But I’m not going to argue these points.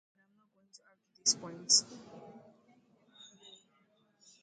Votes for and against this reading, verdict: 0, 2, rejected